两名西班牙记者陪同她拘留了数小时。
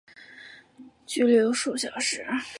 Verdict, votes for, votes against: rejected, 0, 2